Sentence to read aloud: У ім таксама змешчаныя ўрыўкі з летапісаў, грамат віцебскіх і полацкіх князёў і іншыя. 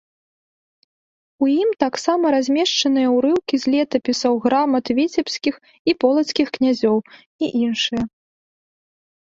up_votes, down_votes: 1, 2